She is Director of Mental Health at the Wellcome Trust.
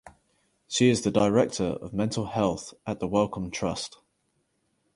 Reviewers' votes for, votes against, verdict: 0, 4, rejected